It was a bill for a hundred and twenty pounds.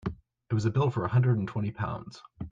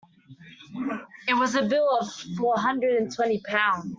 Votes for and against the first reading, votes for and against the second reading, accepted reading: 2, 0, 1, 2, first